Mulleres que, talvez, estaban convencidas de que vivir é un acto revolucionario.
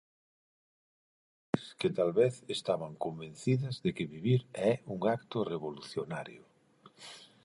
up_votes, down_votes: 0, 4